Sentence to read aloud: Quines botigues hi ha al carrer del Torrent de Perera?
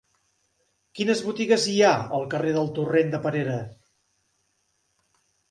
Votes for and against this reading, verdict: 2, 0, accepted